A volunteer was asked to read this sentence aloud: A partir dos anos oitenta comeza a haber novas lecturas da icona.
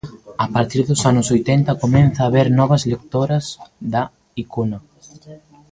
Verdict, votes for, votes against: rejected, 0, 2